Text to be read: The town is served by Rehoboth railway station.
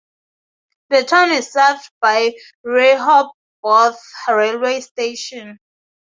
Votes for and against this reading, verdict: 2, 0, accepted